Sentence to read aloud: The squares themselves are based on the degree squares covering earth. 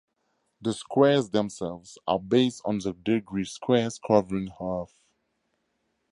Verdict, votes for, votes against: accepted, 4, 2